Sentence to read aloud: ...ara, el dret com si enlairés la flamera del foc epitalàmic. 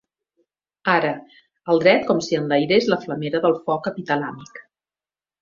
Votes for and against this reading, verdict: 2, 0, accepted